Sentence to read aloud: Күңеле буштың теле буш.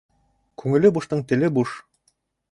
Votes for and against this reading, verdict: 2, 0, accepted